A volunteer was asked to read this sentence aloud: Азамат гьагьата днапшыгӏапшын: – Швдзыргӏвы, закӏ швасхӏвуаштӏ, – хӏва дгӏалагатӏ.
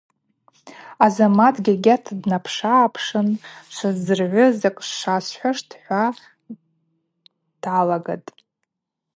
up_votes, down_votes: 2, 0